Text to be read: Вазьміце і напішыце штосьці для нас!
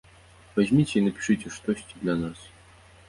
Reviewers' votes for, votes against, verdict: 2, 0, accepted